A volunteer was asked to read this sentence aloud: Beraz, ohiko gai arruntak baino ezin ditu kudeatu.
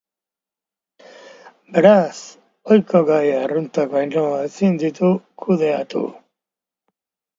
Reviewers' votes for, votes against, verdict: 2, 0, accepted